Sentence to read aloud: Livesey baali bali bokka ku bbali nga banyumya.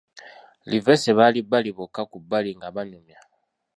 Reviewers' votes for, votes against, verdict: 2, 0, accepted